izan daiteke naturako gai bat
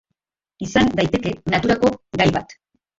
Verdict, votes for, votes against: accepted, 2, 0